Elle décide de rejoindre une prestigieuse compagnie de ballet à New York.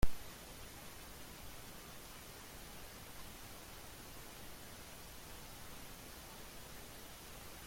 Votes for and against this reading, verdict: 0, 2, rejected